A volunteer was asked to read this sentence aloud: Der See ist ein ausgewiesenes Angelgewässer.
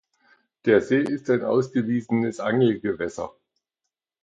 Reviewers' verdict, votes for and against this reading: accepted, 2, 0